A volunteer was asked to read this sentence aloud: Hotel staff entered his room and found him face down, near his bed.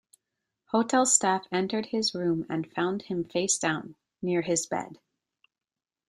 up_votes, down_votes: 2, 0